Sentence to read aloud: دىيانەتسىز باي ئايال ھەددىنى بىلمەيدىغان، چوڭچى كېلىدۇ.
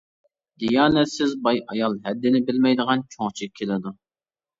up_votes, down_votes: 2, 0